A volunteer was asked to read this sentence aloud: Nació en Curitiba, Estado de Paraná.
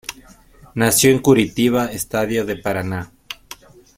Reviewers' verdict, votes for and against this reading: rejected, 0, 2